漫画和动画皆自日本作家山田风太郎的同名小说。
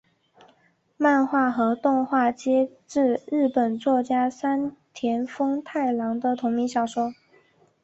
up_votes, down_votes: 1, 2